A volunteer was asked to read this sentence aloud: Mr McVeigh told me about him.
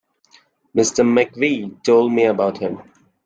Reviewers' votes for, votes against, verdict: 2, 0, accepted